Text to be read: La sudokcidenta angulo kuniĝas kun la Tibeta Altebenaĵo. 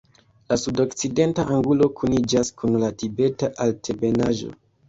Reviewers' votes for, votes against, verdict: 0, 2, rejected